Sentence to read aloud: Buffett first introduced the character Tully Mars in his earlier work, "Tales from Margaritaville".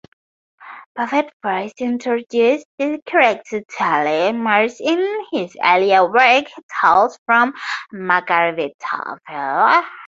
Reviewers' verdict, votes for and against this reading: rejected, 0, 2